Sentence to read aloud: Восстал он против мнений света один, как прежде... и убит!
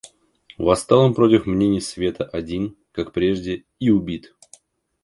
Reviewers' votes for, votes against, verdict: 1, 2, rejected